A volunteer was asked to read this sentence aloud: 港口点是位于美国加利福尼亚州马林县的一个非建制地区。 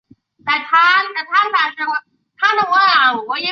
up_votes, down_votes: 0, 5